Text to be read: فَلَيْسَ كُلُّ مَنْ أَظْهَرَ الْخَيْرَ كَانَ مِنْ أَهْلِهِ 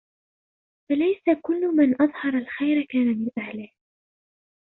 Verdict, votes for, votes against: rejected, 1, 2